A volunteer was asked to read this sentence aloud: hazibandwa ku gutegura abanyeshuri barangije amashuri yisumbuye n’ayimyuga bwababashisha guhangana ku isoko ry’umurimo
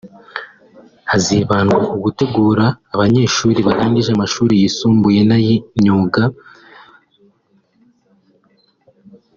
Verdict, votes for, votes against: rejected, 1, 2